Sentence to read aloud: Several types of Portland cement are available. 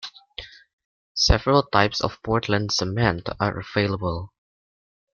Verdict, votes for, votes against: accepted, 2, 1